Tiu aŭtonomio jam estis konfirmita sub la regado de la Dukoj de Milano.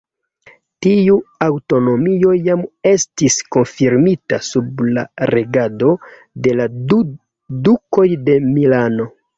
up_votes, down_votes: 1, 2